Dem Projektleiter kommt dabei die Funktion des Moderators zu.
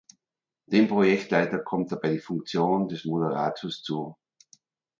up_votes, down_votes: 3, 1